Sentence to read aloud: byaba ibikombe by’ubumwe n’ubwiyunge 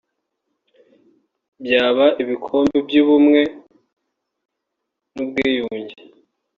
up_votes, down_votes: 3, 0